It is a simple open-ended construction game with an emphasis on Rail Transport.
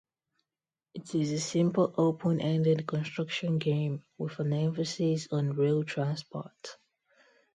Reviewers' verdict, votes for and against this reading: accepted, 2, 0